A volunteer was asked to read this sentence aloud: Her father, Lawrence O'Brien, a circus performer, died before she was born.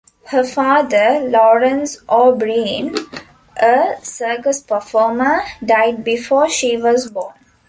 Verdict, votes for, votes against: rejected, 0, 2